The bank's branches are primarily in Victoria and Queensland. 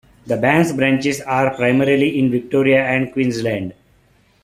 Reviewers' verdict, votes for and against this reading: accepted, 2, 0